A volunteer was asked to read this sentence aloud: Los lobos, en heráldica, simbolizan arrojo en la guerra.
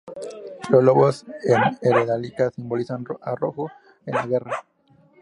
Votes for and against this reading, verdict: 2, 6, rejected